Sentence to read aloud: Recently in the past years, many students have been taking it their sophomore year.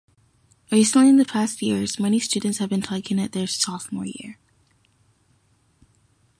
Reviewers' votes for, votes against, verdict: 0, 2, rejected